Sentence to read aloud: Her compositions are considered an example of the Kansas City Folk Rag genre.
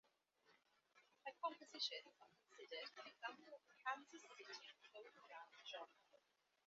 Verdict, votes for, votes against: rejected, 1, 2